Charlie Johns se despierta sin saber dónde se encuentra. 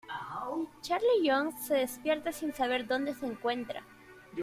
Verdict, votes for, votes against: accepted, 2, 0